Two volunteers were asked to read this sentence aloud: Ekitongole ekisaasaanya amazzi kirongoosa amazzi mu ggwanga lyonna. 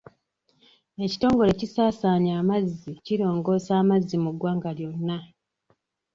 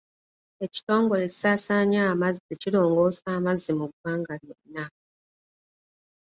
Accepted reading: second